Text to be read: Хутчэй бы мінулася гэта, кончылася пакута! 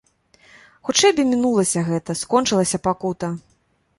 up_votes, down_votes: 0, 2